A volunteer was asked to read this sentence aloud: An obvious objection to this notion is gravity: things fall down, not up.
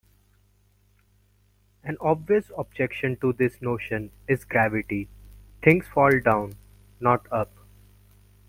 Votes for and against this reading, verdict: 2, 0, accepted